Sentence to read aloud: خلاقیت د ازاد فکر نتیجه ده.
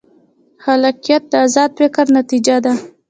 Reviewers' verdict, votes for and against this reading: accepted, 2, 0